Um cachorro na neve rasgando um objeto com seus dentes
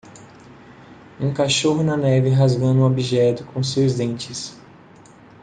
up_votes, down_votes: 2, 0